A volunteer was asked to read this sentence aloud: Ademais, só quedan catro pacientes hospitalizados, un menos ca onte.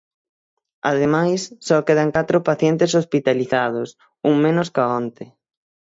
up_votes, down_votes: 6, 0